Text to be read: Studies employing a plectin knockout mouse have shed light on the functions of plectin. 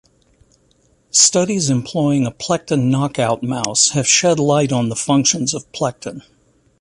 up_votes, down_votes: 2, 0